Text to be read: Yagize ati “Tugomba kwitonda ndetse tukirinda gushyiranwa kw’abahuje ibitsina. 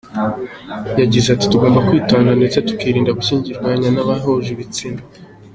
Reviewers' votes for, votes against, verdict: 2, 0, accepted